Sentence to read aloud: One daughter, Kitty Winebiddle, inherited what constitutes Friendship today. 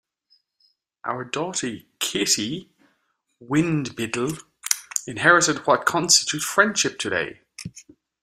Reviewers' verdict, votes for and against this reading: rejected, 0, 2